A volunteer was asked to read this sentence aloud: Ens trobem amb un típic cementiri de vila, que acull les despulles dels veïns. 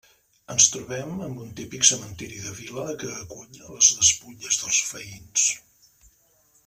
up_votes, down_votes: 0, 2